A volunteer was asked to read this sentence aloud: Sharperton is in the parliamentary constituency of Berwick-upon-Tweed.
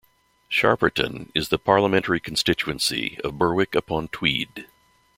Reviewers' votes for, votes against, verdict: 0, 2, rejected